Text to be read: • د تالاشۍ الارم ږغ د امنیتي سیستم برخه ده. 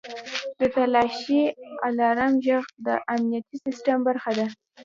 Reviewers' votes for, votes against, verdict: 1, 2, rejected